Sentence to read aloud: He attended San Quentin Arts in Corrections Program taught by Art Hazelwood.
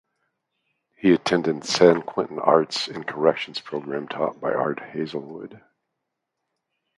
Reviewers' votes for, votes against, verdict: 2, 0, accepted